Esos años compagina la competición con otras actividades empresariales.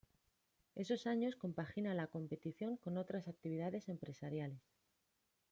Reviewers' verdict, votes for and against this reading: rejected, 0, 2